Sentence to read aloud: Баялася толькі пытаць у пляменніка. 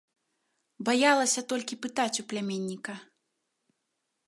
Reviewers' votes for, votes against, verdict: 2, 0, accepted